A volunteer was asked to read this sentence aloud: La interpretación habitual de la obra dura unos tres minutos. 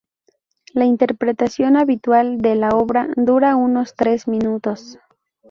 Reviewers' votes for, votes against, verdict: 2, 0, accepted